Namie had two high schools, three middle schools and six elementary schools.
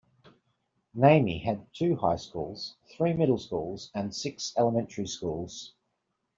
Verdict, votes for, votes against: accepted, 2, 0